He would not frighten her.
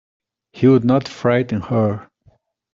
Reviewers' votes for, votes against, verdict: 2, 0, accepted